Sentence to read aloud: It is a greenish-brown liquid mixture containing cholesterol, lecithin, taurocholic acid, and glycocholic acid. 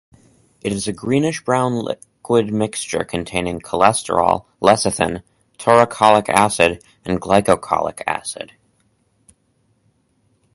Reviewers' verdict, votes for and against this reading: accepted, 2, 0